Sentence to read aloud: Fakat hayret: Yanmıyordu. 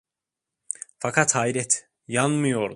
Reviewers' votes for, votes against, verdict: 0, 2, rejected